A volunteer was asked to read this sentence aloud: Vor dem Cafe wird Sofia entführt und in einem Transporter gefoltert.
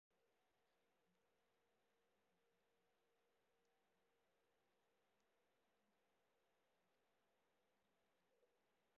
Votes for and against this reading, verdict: 0, 2, rejected